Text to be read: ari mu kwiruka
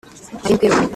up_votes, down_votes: 0, 2